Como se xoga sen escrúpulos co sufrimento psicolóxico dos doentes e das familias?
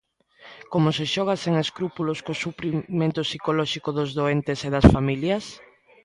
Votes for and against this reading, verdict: 1, 2, rejected